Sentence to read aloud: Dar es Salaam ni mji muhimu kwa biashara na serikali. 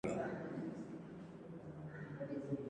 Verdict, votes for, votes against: rejected, 0, 2